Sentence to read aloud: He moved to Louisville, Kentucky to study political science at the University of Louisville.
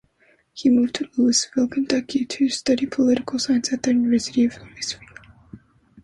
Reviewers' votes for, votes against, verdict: 0, 2, rejected